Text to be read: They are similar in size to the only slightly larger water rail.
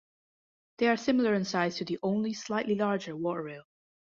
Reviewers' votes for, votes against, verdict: 2, 0, accepted